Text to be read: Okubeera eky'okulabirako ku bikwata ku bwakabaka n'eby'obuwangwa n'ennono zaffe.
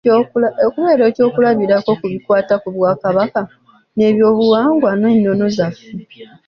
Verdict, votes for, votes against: accepted, 2, 0